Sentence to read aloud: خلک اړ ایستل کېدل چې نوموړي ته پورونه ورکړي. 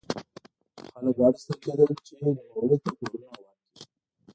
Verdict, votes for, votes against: rejected, 1, 2